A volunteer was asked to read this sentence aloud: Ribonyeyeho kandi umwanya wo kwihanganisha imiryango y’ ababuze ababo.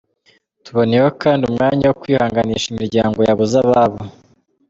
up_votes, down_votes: 2, 0